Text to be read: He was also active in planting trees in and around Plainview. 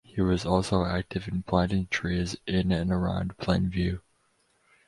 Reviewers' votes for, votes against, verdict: 4, 0, accepted